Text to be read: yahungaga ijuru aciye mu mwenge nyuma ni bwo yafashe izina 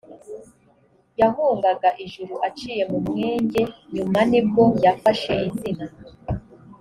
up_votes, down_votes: 2, 0